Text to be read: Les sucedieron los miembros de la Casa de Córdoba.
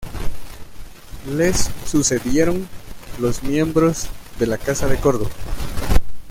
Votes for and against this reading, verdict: 1, 2, rejected